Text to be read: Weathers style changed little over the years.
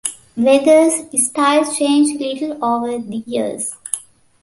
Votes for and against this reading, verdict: 1, 2, rejected